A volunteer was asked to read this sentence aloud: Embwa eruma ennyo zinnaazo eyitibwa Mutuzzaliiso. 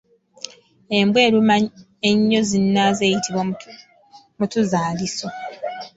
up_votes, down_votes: 3, 1